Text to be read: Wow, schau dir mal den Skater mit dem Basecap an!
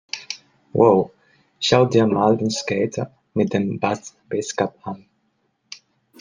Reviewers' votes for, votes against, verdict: 0, 2, rejected